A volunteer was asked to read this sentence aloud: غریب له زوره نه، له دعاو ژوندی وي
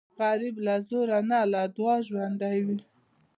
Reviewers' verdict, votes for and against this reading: accepted, 2, 0